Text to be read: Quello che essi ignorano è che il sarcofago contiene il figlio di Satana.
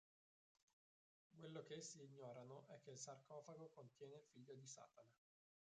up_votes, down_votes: 0, 2